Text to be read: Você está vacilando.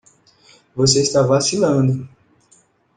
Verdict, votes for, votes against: accepted, 2, 0